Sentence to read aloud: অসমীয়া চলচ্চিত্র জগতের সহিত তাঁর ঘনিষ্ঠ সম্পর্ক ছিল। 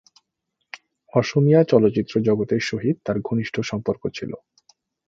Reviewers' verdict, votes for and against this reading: accepted, 2, 1